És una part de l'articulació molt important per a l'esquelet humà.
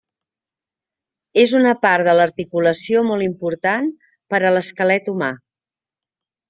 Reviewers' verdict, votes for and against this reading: accepted, 2, 0